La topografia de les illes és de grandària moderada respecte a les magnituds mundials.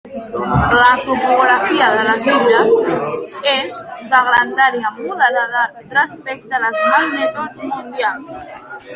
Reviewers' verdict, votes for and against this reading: rejected, 1, 2